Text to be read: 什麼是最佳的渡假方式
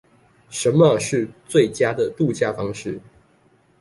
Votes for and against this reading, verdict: 2, 1, accepted